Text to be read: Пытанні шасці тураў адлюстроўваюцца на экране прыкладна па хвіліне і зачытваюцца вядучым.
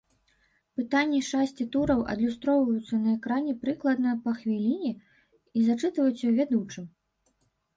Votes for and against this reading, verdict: 0, 2, rejected